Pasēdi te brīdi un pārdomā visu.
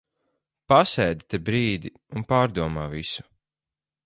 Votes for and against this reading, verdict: 4, 0, accepted